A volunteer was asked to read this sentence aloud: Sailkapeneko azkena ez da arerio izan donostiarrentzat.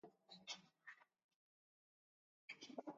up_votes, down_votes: 0, 2